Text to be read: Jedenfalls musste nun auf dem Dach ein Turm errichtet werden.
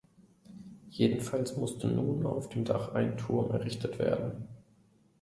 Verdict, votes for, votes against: accepted, 2, 0